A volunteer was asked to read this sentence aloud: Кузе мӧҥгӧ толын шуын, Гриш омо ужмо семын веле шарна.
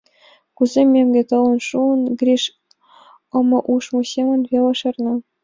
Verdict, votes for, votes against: accepted, 2, 0